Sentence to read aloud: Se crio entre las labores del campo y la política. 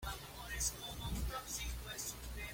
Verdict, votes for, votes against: rejected, 1, 2